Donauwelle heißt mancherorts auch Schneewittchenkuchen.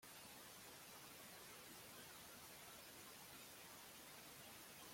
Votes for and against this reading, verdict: 0, 2, rejected